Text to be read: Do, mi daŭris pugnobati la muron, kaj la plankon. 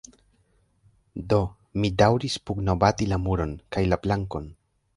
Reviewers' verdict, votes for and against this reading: rejected, 1, 3